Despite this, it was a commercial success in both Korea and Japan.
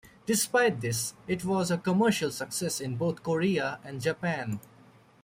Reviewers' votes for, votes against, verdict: 2, 1, accepted